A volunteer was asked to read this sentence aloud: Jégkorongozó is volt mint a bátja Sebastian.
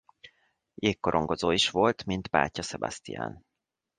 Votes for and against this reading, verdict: 1, 2, rejected